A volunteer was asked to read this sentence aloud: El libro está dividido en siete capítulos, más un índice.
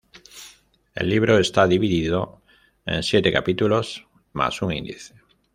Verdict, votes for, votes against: accepted, 2, 0